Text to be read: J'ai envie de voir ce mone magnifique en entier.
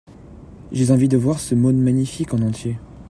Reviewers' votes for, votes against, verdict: 1, 2, rejected